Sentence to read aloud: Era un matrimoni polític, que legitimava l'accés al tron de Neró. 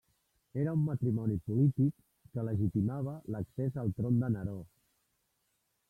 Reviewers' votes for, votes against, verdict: 0, 2, rejected